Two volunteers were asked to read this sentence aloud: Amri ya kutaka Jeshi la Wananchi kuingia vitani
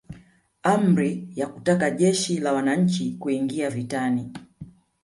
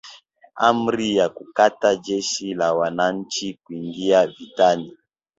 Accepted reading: second